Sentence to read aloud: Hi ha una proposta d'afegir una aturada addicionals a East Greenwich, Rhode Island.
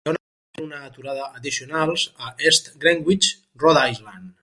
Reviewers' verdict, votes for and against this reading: rejected, 0, 4